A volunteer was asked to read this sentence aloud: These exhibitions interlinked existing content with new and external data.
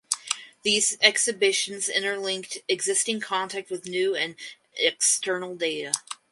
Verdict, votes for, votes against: accepted, 4, 0